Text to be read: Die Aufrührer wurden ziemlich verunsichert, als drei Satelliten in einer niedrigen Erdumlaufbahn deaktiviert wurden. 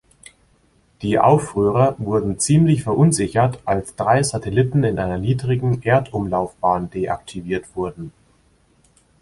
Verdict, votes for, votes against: accepted, 2, 0